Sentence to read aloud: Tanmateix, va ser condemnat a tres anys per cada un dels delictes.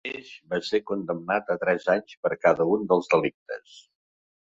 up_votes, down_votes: 0, 2